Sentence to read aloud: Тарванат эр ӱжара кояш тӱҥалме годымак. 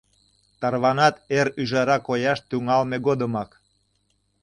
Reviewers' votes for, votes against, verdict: 2, 0, accepted